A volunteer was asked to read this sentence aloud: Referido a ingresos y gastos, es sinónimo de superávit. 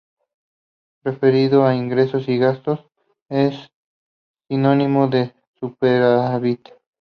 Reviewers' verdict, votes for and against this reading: rejected, 0, 2